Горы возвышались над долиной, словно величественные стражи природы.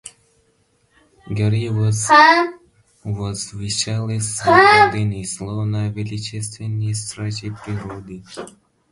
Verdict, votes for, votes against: rejected, 1, 2